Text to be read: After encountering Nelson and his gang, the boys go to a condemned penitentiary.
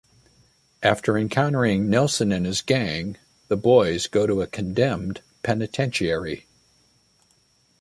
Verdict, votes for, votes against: accepted, 2, 0